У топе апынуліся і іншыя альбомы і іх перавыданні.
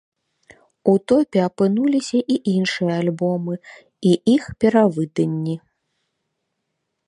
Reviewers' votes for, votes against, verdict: 0, 2, rejected